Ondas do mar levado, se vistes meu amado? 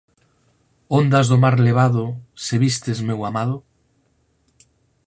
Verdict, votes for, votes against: accepted, 4, 0